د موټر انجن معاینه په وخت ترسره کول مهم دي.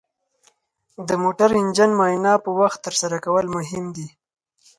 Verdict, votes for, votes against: accepted, 4, 0